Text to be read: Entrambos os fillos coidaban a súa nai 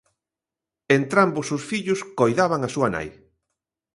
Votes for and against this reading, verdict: 2, 0, accepted